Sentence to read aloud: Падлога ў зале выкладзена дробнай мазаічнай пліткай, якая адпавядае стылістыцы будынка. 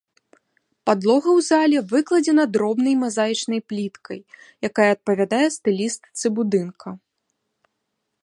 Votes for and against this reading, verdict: 2, 0, accepted